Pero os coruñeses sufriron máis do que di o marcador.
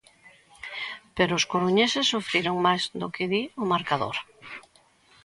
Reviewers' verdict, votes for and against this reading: accepted, 2, 1